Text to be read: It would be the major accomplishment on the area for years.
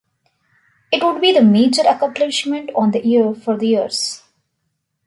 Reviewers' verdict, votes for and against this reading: accepted, 2, 1